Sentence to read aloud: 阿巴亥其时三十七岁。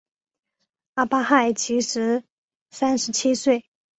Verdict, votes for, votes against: accepted, 3, 1